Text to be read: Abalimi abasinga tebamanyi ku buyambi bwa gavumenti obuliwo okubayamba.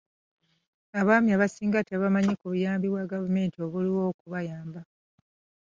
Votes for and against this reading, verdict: 1, 2, rejected